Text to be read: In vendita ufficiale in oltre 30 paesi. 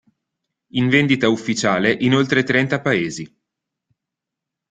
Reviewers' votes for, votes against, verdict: 0, 2, rejected